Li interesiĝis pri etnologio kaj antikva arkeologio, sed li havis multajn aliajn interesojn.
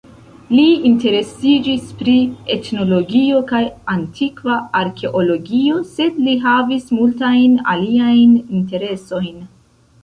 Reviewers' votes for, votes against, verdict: 1, 2, rejected